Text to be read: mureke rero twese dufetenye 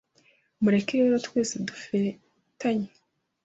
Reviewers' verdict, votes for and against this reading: rejected, 1, 2